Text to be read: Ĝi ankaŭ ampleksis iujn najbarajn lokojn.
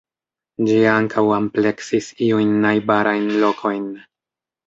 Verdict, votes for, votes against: rejected, 0, 2